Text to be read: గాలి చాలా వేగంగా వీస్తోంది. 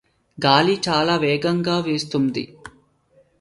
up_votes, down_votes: 2, 0